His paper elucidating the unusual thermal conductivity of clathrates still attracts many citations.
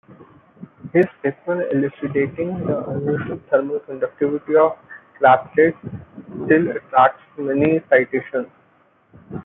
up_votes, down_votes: 1, 2